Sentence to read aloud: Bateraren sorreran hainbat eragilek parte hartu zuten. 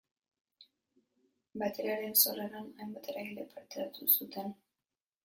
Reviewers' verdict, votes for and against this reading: rejected, 1, 2